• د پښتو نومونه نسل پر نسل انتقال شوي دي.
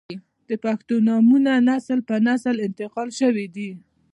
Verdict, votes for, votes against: accepted, 2, 0